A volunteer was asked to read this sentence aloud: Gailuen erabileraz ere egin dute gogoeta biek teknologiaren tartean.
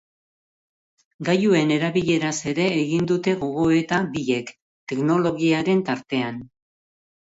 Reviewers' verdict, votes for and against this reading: accepted, 2, 0